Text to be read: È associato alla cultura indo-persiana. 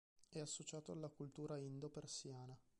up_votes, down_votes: 2, 0